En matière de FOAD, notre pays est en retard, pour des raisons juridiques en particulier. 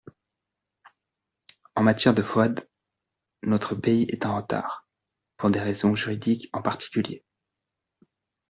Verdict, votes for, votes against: accepted, 2, 0